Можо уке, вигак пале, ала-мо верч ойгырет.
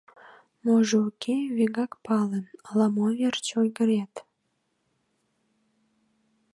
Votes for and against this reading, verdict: 2, 0, accepted